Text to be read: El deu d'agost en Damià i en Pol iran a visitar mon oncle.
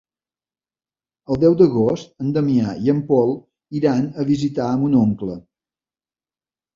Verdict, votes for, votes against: accepted, 3, 0